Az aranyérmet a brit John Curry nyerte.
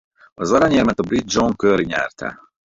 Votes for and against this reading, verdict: 2, 2, rejected